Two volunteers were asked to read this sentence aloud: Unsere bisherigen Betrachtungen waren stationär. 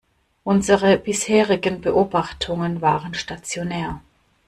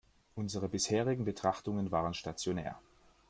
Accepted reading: second